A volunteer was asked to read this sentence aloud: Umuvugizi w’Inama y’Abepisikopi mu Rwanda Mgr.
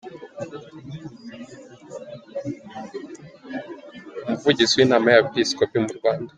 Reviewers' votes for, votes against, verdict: 0, 2, rejected